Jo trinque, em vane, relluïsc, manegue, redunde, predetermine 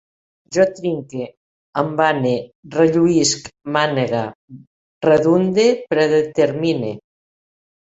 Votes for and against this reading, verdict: 0, 2, rejected